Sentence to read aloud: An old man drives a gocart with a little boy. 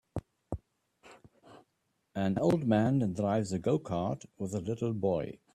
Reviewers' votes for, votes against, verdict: 3, 0, accepted